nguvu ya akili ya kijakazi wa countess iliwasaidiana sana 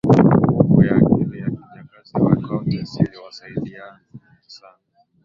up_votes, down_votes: 2, 11